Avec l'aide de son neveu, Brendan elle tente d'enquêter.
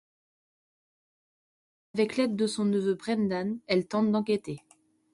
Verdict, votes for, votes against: rejected, 1, 2